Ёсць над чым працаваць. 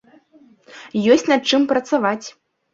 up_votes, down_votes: 2, 0